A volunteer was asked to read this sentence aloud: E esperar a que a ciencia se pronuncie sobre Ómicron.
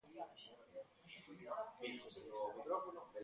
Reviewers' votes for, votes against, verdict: 0, 2, rejected